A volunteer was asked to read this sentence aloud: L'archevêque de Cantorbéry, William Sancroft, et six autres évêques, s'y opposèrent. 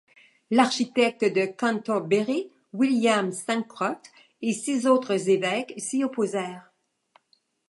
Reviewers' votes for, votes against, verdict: 1, 2, rejected